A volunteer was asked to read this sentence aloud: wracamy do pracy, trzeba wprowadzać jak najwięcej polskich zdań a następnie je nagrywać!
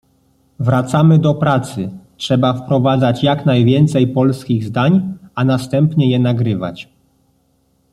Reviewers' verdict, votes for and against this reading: accepted, 2, 0